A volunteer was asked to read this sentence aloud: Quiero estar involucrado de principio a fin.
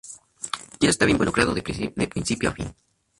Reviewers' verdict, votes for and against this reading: accepted, 2, 0